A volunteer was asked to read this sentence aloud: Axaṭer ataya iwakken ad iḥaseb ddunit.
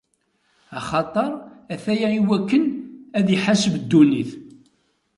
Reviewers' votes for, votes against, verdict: 2, 0, accepted